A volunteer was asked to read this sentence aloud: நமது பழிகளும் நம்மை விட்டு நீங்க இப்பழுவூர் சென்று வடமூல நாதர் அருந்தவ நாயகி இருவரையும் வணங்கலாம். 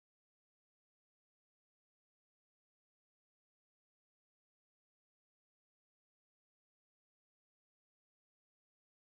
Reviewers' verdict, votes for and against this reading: rejected, 0, 2